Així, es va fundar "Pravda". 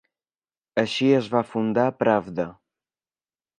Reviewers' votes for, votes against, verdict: 3, 0, accepted